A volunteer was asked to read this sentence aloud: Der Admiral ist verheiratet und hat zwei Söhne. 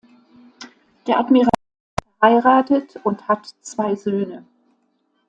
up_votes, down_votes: 0, 2